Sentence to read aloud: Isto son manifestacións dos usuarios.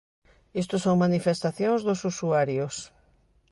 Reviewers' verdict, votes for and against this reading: accepted, 3, 0